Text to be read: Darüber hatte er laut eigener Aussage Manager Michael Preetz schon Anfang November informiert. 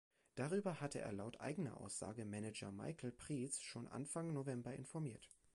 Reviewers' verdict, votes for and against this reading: rejected, 2, 3